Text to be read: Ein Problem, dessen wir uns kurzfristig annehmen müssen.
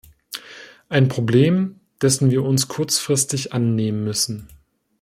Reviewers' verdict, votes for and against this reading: accepted, 2, 0